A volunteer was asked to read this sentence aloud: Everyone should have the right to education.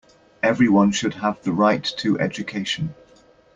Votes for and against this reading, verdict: 2, 0, accepted